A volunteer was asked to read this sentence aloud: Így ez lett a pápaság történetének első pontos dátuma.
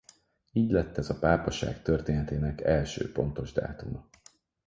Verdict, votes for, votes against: rejected, 2, 4